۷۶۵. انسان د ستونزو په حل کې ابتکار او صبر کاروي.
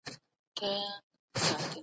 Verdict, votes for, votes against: rejected, 0, 2